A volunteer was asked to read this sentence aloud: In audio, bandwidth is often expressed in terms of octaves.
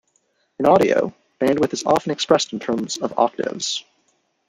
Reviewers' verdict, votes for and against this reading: rejected, 1, 2